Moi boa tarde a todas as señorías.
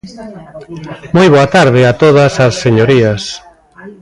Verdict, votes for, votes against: rejected, 0, 2